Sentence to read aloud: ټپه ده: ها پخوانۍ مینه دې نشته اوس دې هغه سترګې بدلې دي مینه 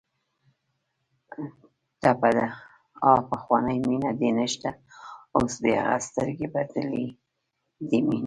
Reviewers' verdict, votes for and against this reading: rejected, 1, 2